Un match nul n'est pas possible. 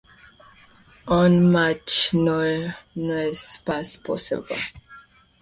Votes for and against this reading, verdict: 1, 2, rejected